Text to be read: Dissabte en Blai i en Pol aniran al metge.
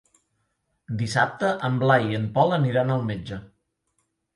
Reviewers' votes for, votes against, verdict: 3, 0, accepted